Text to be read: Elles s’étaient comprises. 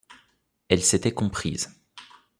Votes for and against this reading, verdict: 2, 0, accepted